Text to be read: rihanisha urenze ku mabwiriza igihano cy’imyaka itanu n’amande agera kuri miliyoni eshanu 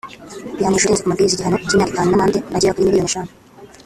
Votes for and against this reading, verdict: 0, 2, rejected